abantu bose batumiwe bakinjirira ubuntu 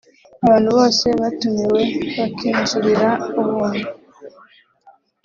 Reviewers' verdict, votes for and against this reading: rejected, 1, 2